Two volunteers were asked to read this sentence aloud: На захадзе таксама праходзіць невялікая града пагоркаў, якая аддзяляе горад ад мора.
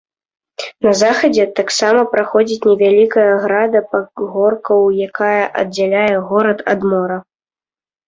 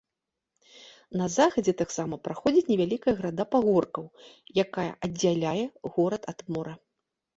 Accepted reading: second